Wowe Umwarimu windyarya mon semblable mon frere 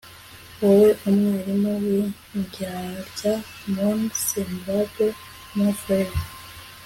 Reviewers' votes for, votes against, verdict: 2, 1, accepted